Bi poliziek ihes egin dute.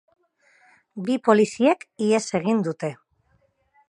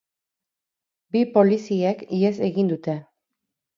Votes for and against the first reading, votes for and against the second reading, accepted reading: 4, 0, 2, 2, first